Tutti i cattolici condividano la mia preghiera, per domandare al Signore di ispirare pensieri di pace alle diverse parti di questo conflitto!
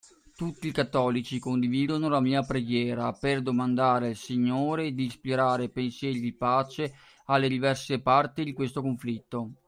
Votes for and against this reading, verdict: 3, 0, accepted